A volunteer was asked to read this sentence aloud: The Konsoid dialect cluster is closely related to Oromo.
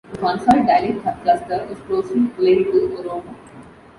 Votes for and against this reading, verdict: 0, 2, rejected